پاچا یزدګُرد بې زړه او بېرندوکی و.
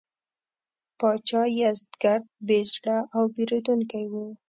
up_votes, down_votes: 2, 0